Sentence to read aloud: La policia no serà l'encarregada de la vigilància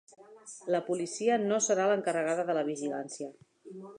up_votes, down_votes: 4, 0